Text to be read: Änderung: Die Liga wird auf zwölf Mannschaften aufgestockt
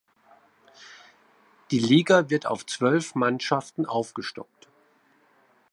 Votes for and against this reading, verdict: 1, 2, rejected